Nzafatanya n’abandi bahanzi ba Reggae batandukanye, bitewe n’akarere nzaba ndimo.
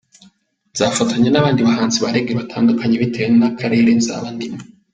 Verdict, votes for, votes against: accepted, 3, 1